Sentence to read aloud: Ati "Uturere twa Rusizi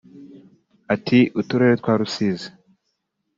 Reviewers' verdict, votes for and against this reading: accepted, 2, 0